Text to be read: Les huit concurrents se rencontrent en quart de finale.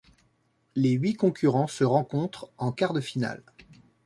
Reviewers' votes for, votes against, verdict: 2, 1, accepted